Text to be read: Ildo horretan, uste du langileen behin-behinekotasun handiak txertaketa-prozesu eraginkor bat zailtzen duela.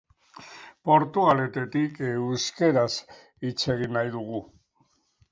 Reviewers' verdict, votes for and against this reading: rejected, 0, 2